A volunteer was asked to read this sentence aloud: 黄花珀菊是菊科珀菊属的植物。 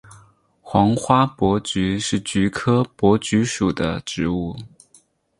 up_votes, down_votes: 6, 0